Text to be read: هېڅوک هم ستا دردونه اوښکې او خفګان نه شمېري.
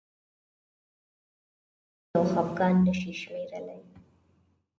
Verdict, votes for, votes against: rejected, 1, 2